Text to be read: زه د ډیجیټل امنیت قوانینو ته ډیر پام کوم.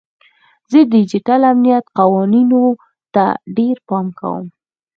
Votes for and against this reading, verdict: 4, 0, accepted